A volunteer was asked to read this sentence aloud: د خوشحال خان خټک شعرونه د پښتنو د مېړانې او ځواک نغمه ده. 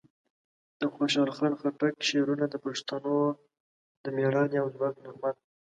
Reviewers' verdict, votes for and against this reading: accepted, 2, 1